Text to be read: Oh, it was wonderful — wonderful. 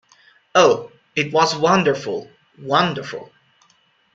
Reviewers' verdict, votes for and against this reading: accepted, 2, 0